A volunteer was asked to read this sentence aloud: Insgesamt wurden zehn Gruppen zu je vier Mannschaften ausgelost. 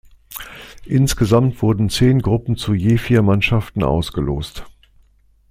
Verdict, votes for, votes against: accepted, 2, 0